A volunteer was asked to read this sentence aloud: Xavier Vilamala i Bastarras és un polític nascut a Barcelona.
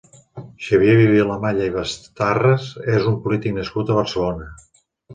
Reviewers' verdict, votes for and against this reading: rejected, 1, 2